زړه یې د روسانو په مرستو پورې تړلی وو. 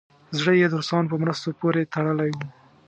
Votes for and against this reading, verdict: 2, 0, accepted